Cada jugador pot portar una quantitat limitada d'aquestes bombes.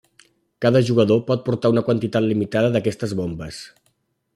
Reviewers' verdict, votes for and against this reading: accepted, 3, 0